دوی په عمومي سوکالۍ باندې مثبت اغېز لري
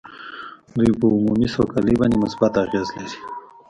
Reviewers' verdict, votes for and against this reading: rejected, 1, 2